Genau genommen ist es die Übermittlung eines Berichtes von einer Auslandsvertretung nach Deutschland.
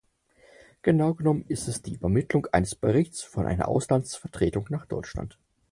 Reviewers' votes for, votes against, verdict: 4, 0, accepted